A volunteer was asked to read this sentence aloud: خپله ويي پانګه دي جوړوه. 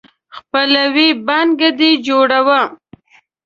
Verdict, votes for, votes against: rejected, 1, 2